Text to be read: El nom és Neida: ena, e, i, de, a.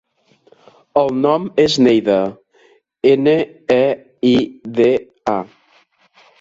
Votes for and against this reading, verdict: 1, 2, rejected